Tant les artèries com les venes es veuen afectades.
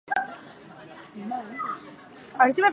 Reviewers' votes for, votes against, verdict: 0, 4, rejected